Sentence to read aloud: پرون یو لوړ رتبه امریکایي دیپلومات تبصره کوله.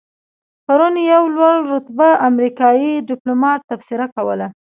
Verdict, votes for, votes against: accepted, 2, 0